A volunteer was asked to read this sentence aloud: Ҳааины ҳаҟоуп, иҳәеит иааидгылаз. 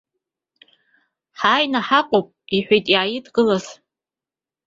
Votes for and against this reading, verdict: 2, 0, accepted